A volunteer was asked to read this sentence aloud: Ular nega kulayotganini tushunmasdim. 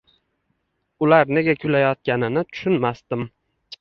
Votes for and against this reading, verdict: 1, 2, rejected